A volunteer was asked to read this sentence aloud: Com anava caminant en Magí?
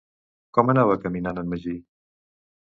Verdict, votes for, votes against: accepted, 2, 0